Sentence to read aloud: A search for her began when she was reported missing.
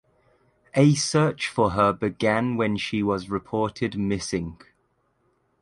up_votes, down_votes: 2, 0